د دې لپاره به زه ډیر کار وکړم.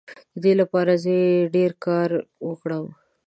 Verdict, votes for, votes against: accepted, 2, 1